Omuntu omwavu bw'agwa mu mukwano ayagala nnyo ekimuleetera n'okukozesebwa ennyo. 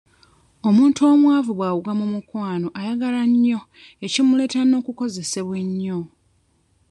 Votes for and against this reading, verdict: 2, 0, accepted